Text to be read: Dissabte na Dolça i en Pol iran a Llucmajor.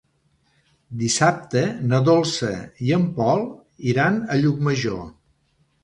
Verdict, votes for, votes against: accepted, 2, 0